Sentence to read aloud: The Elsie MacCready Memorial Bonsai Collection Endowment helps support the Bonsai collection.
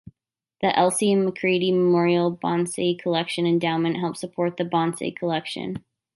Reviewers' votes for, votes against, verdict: 2, 0, accepted